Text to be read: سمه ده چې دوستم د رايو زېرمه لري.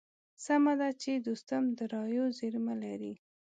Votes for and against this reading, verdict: 2, 0, accepted